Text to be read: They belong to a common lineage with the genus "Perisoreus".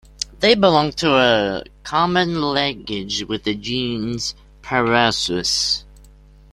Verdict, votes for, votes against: rejected, 0, 2